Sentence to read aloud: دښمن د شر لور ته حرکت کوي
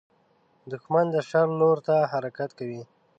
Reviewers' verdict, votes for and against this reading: accepted, 2, 0